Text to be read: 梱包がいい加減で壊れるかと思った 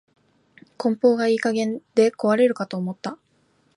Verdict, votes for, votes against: accepted, 2, 0